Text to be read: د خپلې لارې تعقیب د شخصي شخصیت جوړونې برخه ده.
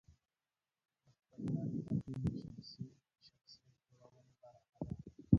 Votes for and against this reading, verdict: 0, 2, rejected